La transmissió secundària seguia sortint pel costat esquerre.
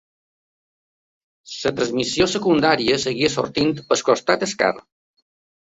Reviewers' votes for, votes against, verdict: 0, 2, rejected